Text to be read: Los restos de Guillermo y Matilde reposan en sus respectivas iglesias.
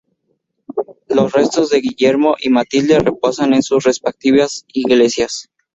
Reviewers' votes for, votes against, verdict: 2, 0, accepted